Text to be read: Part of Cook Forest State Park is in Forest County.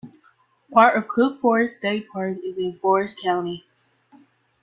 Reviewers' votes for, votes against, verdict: 2, 0, accepted